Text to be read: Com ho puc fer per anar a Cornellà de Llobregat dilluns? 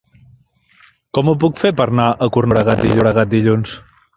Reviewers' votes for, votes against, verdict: 0, 4, rejected